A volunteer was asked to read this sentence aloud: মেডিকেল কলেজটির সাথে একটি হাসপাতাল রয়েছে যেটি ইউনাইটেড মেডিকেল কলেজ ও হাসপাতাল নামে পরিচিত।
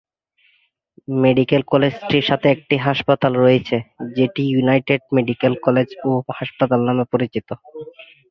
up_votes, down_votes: 4, 0